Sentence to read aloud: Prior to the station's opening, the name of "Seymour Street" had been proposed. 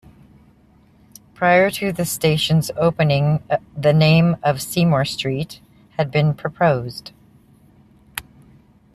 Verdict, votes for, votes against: accepted, 2, 0